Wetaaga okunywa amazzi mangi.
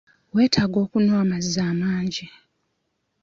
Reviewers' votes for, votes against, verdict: 0, 2, rejected